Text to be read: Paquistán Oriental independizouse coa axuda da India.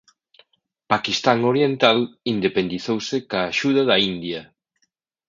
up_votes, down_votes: 2, 1